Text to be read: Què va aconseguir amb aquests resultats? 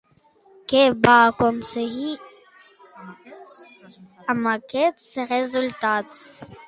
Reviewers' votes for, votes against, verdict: 0, 2, rejected